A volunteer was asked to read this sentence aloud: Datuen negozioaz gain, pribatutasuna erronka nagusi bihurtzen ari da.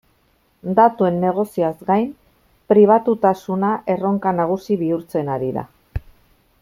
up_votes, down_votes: 2, 0